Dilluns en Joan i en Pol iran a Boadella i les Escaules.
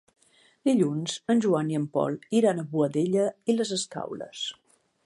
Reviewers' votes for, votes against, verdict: 2, 1, accepted